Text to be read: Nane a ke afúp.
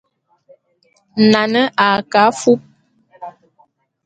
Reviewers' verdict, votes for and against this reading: accepted, 2, 0